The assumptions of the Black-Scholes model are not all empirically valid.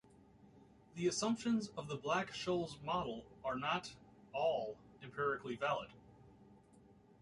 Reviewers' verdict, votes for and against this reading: rejected, 0, 2